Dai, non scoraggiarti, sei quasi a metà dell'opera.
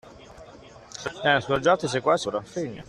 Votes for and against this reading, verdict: 0, 2, rejected